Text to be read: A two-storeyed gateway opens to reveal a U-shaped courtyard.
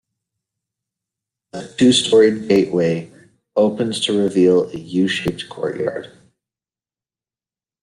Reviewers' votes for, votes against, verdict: 2, 0, accepted